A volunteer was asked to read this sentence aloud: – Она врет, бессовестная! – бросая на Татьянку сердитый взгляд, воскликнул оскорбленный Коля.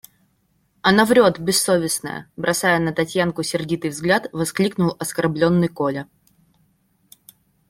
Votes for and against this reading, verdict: 2, 0, accepted